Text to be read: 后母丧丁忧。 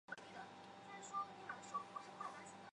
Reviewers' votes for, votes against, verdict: 0, 3, rejected